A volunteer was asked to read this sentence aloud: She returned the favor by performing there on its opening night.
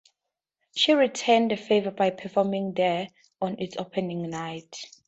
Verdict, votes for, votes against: accepted, 4, 0